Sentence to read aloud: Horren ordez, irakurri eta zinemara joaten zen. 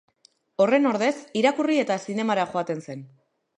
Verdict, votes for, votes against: accepted, 2, 0